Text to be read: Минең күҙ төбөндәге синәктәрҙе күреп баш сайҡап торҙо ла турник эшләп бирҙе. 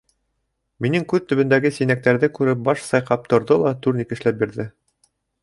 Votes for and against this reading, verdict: 2, 0, accepted